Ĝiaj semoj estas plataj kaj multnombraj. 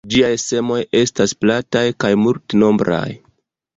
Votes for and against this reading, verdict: 2, 3, rejected